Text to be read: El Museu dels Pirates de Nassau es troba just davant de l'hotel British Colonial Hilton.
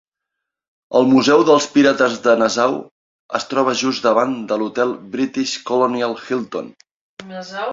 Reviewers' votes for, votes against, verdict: 1, 2, rejected